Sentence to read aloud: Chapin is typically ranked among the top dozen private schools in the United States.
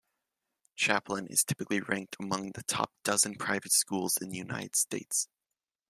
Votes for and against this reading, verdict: 1, 2, rejected